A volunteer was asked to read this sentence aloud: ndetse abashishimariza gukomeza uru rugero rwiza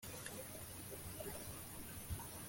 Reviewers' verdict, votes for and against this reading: rejected, 1, 2